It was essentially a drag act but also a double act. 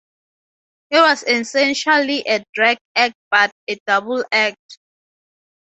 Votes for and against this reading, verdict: 0, 4, rejected